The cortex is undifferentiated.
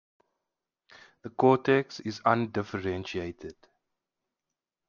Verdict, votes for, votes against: accepted, 4, 0